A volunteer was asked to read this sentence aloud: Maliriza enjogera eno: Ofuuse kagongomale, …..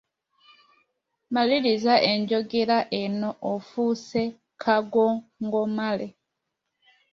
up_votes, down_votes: 1, 2